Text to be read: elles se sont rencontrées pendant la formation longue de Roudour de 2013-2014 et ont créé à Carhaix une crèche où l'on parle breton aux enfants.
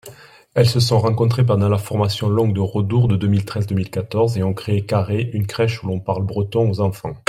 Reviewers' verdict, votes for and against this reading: rejected, 0, 2